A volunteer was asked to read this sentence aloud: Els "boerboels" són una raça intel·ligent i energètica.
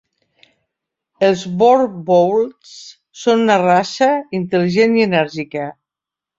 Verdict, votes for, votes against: accepted, 2, 0